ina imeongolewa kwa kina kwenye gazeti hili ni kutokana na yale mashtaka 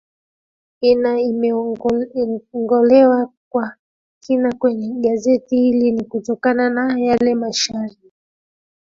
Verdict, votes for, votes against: rejected, 0, 3